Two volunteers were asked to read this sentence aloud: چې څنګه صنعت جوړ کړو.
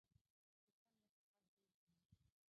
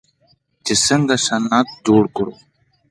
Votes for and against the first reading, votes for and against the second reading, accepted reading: 1, 2, 2, 0, second